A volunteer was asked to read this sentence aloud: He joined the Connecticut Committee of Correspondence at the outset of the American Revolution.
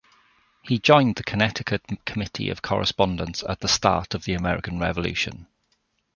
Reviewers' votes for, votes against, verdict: 0, 2, rejected